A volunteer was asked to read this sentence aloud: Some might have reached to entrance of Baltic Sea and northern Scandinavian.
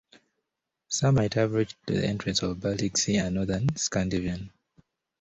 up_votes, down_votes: 2, 0